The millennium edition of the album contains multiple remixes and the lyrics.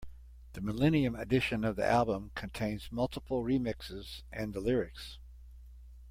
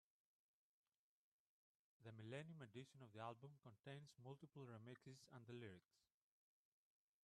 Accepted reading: first